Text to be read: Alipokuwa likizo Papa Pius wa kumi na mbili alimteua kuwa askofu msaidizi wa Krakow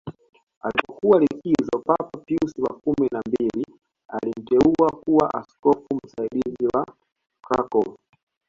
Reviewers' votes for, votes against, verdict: 0, 2, rejected